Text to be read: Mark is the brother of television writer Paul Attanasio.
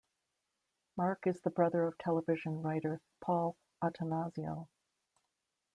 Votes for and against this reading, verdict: 2, 0, accepted